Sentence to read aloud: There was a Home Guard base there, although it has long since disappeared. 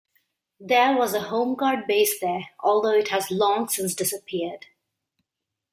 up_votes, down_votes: 2, 0